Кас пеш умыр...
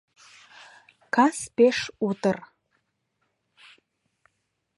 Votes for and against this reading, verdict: 0, 2, rejected